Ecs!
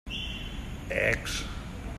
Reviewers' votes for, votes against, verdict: 2, 0, accepted